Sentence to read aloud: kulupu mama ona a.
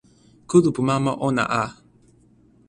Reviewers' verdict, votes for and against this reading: accepted, 2, 0